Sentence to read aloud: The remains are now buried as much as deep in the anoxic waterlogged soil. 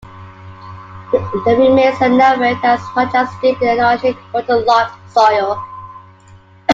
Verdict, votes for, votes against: rejected, 1, 2